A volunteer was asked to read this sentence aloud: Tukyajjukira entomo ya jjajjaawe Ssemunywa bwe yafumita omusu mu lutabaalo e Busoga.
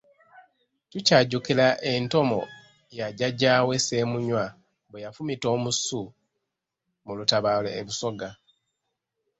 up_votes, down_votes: 2, 0